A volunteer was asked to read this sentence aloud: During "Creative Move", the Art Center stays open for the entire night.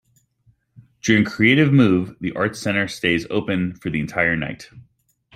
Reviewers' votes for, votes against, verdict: 2, 0, accepted